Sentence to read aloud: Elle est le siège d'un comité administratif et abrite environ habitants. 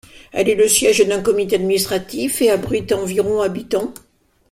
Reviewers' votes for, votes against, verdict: 2, 0, accepted